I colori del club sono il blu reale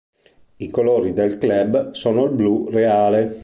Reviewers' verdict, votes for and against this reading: accepted, 2, 0